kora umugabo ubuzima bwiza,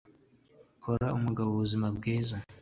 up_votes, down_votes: 2, 0